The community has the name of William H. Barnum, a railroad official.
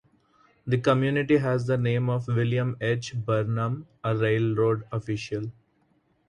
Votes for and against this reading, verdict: 2, 0, accepted